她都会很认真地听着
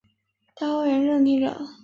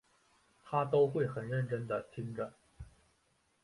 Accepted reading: second